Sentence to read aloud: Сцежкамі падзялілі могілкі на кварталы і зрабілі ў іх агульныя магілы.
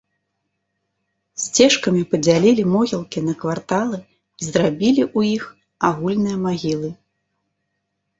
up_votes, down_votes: 2, 0